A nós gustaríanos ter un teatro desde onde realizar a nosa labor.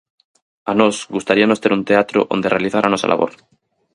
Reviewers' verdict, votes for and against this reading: rejected, 0, 4